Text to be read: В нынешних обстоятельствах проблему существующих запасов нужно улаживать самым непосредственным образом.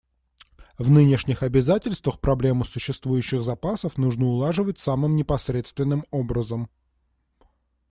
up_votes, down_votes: 1, 2